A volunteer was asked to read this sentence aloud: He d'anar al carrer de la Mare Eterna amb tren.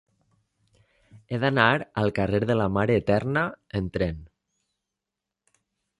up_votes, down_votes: 1, 2